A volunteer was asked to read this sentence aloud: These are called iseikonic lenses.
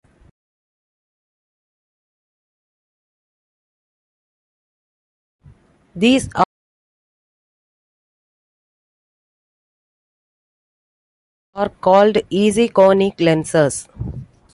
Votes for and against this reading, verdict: 0, 2, rejected